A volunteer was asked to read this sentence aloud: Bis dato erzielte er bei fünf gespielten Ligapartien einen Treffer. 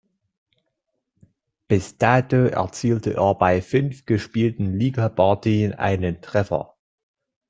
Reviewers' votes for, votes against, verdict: 2, 0, accepted